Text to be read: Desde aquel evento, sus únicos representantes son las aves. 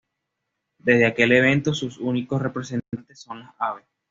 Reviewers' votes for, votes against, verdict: 1, 2, rejected